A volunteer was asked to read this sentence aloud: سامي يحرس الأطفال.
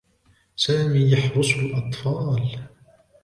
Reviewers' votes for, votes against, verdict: 2, 0, accepted